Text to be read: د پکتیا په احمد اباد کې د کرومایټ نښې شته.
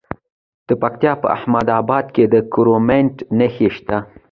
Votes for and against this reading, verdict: 2, 0, accepted